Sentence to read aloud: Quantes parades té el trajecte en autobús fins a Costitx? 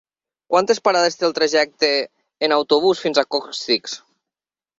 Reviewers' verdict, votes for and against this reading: rejected, 2, 4